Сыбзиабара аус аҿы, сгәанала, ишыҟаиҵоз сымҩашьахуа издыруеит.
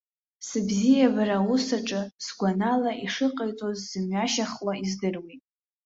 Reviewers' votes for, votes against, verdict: 2, 0, accepted